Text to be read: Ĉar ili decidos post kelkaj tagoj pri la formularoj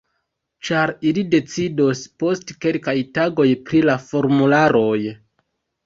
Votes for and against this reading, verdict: 2, 1, accepted